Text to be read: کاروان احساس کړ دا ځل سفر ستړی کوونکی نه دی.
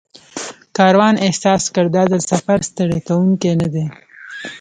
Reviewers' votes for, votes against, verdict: 1, 2, rejected